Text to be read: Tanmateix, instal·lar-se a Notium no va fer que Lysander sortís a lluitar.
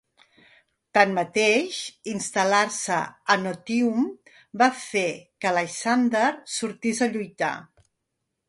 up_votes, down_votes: 1, 2